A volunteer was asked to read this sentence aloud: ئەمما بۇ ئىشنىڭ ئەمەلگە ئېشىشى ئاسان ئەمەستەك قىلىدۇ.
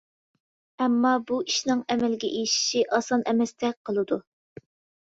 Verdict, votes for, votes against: accepted, 2, 0